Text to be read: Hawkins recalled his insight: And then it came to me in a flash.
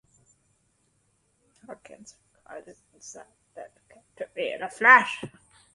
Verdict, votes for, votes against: rejected, 0, 2